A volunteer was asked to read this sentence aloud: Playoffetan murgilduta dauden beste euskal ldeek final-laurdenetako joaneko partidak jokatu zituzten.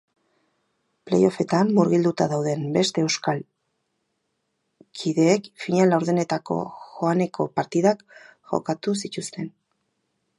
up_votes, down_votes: 2, 2